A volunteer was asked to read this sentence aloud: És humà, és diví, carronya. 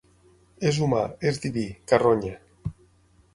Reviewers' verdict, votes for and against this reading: accepted, 6, 0